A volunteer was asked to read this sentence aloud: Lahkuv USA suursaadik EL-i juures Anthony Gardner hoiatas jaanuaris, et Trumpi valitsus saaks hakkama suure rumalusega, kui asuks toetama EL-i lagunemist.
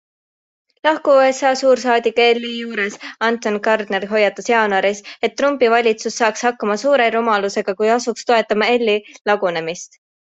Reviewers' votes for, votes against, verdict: 2, 1, accepted